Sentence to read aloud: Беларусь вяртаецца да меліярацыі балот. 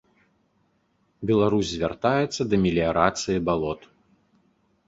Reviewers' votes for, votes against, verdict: 0, 2, rejected